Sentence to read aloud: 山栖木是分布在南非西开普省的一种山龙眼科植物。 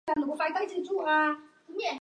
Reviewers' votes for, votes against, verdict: 0, 2, rejected